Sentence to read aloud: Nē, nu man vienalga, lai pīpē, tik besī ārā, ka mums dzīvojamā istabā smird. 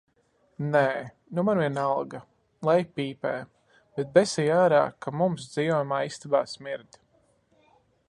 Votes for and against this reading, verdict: 2, 1, accepted